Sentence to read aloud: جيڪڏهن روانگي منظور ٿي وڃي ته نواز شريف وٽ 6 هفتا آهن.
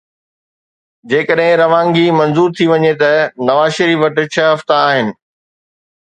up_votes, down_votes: 0, 2